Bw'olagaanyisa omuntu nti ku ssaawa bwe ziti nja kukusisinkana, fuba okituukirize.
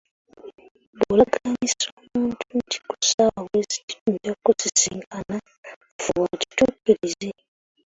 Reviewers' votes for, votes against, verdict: 0, 2, rejected